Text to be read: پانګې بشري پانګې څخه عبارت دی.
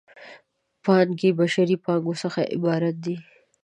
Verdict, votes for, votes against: rejected, 1, 2